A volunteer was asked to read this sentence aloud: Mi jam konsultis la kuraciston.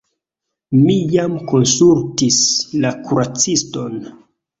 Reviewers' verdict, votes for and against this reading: accepted, 2, 1